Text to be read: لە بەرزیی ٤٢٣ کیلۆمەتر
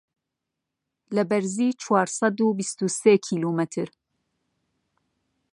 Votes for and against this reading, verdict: 0, 2, rejected